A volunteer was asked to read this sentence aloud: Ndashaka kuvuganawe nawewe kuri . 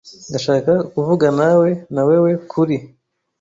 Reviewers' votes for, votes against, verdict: 1, 2, rejected